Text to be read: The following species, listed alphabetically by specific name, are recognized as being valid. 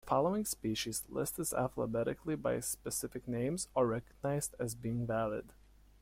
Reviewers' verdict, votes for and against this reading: rejected, 1, 2